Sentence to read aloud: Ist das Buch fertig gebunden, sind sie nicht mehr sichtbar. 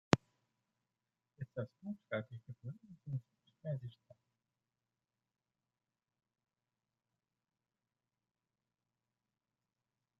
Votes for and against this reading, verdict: 0, 2, rejected